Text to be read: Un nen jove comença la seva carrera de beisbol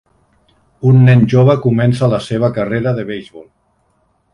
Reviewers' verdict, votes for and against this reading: accepted, 3, 0